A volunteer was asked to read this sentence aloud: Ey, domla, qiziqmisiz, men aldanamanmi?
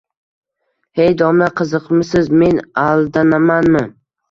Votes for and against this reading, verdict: 2, 0, accepted